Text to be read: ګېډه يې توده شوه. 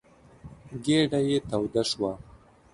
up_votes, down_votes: 2, 0